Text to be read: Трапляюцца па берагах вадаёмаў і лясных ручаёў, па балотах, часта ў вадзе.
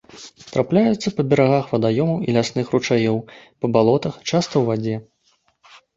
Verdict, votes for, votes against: accepted, 2, 0